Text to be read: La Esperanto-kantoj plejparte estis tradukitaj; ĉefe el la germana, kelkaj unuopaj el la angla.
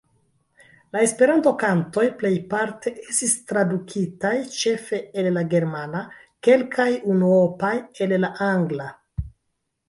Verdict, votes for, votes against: accepted, 2, 1